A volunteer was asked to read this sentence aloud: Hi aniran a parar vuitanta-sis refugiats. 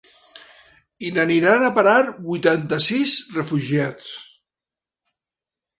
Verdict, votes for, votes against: rejected, 1, 2